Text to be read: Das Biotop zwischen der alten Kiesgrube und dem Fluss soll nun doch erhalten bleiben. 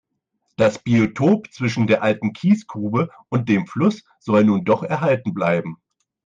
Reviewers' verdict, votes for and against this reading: accepted, 4, 0